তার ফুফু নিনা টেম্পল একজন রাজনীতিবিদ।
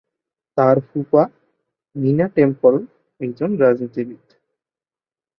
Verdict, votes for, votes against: rejected, 0, 2